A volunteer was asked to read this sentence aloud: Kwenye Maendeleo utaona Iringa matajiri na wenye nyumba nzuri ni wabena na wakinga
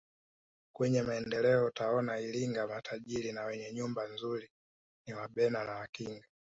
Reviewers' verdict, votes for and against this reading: rejected, 1, 2